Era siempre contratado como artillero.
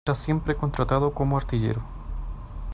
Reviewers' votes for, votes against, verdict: 0, 2, rejected